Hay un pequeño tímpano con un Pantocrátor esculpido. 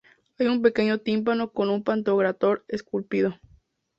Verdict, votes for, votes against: rejected, 0, 2